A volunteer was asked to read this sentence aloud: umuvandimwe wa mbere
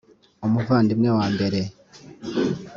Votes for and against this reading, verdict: 2, 0, accepted